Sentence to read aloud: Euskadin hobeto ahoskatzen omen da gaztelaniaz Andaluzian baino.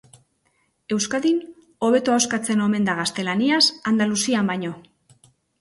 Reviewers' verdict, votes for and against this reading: accepted, 2, 0